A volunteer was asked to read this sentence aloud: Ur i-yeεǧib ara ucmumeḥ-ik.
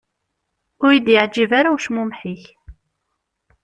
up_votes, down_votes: 1, 2